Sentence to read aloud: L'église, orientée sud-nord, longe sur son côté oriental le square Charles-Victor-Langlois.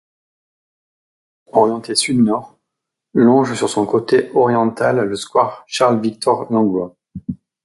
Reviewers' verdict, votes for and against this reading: rejected, 1, 2